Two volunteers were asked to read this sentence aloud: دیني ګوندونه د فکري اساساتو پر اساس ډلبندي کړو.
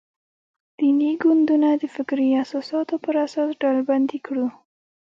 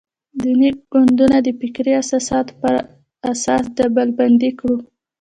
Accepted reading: second